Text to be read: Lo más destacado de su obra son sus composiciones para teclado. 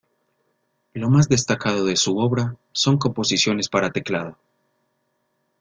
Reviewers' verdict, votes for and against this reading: rejected, 0, 2